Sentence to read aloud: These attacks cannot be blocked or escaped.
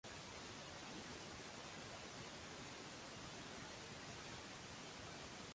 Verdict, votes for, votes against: rejected, 0, 2